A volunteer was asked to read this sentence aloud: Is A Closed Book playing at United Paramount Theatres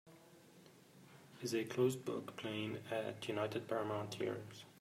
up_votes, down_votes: 2, 0